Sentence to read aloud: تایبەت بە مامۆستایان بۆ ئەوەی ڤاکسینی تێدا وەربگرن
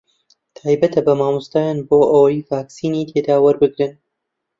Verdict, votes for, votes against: rejected, 1, 2